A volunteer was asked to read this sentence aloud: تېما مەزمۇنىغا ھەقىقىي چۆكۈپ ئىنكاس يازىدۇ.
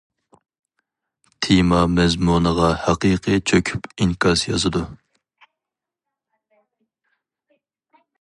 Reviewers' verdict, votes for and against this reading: accepted, 2, 0